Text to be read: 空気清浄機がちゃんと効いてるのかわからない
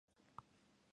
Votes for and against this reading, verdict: 2, 6, rejected